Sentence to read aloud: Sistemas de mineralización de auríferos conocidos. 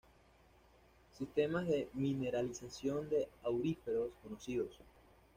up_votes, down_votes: 2, 0